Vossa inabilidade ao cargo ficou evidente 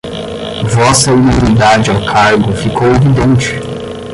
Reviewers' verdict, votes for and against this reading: rejected, 0, 10